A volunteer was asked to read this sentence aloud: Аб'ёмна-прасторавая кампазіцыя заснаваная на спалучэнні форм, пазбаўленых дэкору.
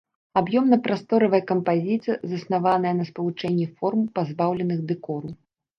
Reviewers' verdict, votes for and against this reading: accepted, 2, 0